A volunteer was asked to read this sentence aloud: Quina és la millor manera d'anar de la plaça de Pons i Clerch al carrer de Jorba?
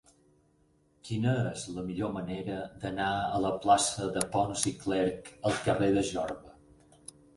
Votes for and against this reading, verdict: 4, 6, rejected